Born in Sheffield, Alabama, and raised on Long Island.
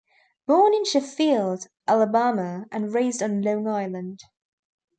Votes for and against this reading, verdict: 0, 2, rejected